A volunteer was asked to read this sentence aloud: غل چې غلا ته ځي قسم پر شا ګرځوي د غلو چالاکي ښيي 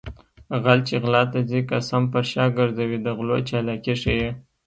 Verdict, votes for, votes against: accepted, 2, 0